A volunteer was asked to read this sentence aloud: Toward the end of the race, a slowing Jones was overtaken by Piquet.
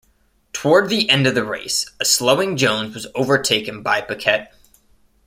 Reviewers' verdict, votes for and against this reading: accepted, 2, 0